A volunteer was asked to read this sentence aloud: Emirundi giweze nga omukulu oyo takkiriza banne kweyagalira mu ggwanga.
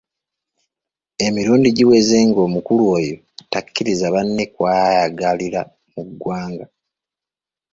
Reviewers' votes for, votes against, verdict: 0, 3, rejected